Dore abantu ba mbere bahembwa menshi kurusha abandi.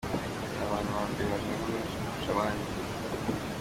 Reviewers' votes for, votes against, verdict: 2, 1, accepted